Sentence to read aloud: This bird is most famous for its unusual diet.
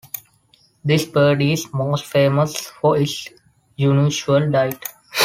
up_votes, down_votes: 0, 2